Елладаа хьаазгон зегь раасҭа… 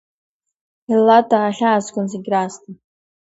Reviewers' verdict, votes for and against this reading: accepted, 2, 0